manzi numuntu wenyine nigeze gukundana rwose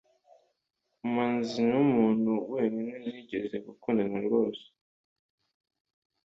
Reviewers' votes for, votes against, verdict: 2, 0, accepted